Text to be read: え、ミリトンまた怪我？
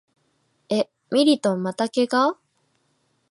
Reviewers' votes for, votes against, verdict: 2, 0, accepted